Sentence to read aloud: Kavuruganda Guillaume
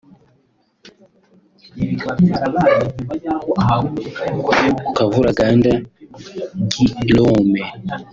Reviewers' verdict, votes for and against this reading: rejected, 1, 3